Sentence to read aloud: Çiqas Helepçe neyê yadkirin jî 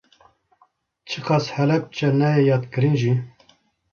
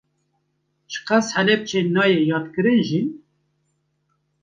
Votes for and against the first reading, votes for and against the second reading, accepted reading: 2, 0, 0, 2, first